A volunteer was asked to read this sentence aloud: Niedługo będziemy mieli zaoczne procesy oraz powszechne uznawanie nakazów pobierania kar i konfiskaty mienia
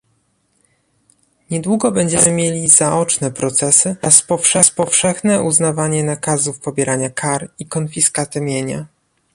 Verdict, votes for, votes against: rejected, 1, 2